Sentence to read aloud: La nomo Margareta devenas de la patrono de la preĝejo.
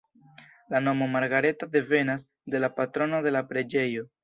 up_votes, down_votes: 2, 0